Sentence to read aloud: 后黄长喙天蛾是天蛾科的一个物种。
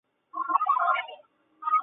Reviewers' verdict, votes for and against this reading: rejected, 0, 3